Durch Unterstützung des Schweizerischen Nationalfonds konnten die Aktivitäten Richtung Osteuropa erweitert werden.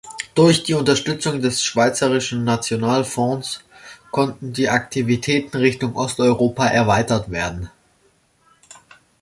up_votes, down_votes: 1, 2